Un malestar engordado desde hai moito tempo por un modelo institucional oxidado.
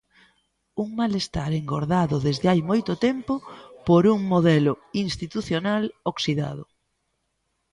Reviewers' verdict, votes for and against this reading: rejected, 1, 2